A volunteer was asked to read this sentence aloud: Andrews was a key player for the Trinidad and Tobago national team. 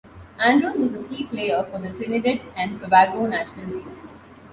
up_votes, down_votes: 2, 0